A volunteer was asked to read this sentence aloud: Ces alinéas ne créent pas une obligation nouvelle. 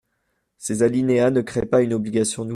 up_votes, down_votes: 0, 2